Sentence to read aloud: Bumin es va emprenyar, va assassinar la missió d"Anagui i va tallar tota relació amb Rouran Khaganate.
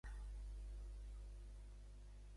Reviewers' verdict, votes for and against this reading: rejected, 1, 2